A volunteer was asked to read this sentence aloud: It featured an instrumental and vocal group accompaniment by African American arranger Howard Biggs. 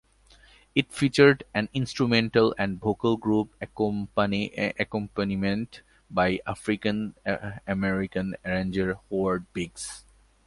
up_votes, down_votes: 2, 0